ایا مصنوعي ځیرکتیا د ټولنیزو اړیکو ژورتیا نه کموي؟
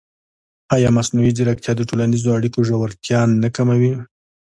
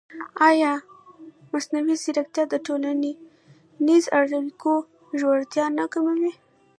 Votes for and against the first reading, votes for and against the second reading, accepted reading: 2, 1, 1, 2, first